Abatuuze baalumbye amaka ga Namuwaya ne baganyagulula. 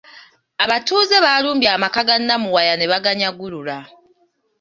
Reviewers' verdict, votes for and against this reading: accepted, 2, 0